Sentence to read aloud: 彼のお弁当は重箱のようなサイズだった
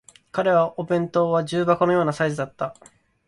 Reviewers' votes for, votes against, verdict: 1, 2, rejected